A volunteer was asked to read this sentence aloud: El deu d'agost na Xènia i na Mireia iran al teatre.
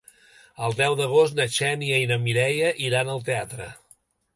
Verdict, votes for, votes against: accepted, 3, 0